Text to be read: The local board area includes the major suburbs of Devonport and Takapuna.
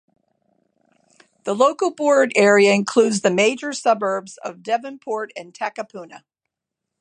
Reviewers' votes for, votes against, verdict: 2, 0, accepted